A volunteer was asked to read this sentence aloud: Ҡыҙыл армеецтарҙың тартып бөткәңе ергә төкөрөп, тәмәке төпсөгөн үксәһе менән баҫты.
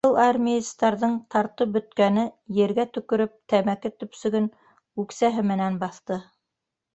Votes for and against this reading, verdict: 1, 2, rejected